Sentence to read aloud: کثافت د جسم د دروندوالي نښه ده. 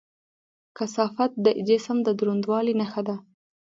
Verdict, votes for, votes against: rejected, 0, 2